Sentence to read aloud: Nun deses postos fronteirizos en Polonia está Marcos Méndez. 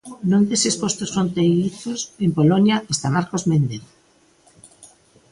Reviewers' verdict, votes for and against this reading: accepted, 2, 0